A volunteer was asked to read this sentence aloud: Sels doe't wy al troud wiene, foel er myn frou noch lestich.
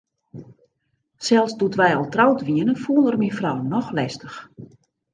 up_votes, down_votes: 0, 2